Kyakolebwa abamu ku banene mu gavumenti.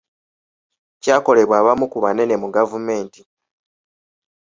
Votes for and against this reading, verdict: 2, 0, accepted